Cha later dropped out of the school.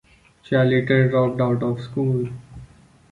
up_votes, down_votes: 1, 2